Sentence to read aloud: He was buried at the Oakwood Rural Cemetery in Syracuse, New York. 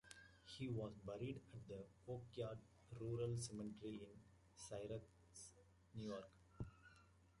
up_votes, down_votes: 0, 2